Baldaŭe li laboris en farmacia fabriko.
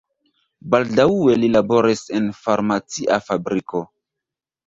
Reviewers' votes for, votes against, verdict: 1, 2, rejected